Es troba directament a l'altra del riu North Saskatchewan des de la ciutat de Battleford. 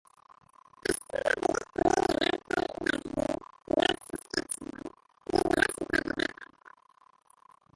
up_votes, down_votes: 0, 2